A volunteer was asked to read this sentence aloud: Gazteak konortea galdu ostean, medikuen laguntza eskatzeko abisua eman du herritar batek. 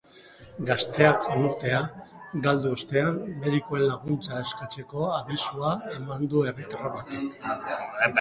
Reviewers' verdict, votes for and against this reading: rejected, 0, 2